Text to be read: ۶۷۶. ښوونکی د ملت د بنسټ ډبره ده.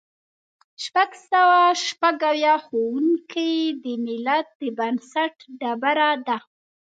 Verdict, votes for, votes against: rejected, 0, 2